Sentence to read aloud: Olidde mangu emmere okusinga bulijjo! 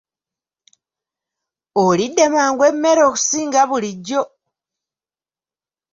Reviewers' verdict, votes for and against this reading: accepted, 2, 0